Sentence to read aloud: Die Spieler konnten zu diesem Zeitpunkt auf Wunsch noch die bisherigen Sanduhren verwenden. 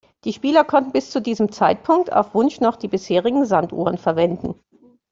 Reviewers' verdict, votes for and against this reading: rejected, 0, 2